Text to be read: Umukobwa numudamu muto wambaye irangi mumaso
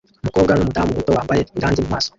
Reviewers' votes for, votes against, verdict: 0, 2, rejected